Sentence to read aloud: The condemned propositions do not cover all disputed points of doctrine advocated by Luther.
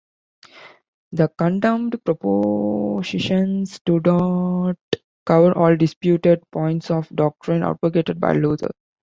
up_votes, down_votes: 0, 2